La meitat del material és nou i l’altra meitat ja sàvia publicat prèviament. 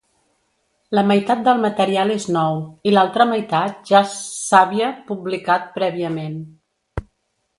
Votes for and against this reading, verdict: 1, 2, rejected